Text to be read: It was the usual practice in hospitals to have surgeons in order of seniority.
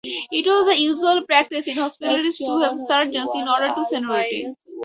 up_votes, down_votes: 0, 4